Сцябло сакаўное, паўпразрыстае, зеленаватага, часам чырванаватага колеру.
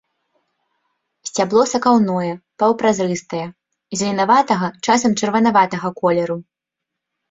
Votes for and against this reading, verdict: 2, 0, accepted